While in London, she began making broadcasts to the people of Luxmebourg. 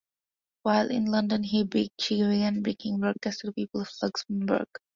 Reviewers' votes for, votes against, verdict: 0, 2, rejected